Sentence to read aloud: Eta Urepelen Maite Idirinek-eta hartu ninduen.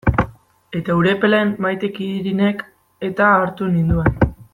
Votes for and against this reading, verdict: 1, 2, rejected